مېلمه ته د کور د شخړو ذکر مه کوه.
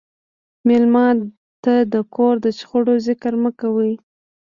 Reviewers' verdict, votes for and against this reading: rejected, 1, 2